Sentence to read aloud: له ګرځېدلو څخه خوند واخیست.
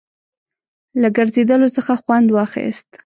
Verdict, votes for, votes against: accepted, 2, 0